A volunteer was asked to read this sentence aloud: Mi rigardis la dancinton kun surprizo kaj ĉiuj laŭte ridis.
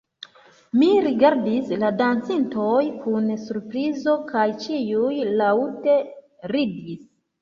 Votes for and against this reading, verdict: 0, 2, rejected